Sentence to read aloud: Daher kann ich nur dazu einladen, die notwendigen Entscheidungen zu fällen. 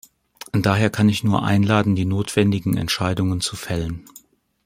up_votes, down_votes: 0, 2